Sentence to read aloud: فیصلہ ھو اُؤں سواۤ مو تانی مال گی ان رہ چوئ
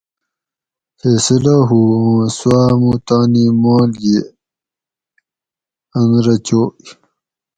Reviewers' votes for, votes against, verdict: 2, 4, rejected